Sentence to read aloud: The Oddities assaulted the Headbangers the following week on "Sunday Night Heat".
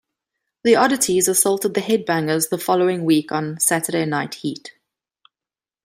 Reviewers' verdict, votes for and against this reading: rejected, 0, 2